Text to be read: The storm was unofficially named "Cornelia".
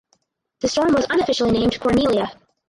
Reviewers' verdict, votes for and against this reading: rejected, 2, 2